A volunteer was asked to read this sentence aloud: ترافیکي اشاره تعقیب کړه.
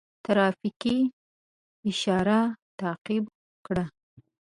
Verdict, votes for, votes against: accepted, 2, 0